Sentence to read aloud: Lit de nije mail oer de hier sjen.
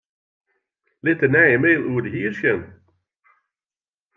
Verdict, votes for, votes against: accepted, 2, 0